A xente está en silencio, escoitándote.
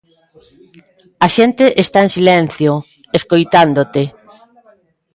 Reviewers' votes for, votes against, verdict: 2, 0, accepted